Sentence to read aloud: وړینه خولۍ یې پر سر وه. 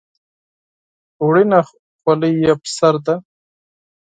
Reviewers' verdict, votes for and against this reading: rejected, 0, 4